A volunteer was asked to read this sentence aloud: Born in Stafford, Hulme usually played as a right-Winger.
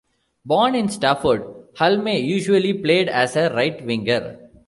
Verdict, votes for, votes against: accepted, 2, 0